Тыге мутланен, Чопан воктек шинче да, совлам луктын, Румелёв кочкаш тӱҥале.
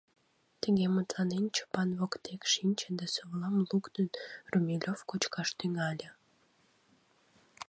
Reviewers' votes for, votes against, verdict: 1, 2, rejected